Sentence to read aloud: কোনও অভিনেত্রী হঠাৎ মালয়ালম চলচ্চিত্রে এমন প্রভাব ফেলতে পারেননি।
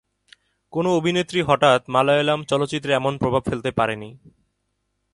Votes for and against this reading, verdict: 3, 0, accepted